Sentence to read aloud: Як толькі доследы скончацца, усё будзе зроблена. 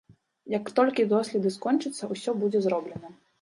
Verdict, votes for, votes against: accepted, 2, 0